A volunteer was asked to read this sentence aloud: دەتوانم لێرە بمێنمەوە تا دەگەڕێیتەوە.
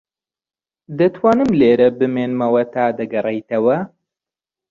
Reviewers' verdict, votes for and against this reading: rejected, 1, 2